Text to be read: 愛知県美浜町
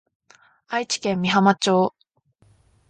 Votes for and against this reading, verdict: 2, 0, accepted